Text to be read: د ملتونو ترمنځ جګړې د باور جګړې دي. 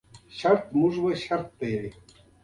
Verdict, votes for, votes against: rejected, 1, 2